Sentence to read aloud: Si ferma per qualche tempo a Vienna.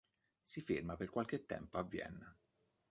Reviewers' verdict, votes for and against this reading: accepted, 2, 0